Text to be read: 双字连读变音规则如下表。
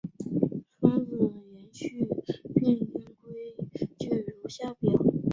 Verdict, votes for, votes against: rejected, 0, 2